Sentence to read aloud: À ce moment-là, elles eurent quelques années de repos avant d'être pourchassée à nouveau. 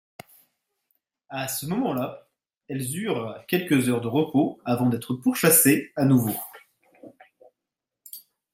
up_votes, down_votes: 0, 2